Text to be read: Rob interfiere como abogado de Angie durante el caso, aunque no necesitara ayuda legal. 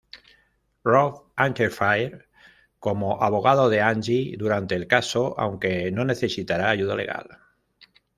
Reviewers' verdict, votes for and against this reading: rejected, 0, 2